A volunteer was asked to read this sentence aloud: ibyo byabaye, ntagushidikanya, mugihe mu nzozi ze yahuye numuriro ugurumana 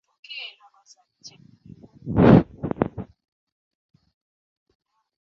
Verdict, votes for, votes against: rejected, 0, 2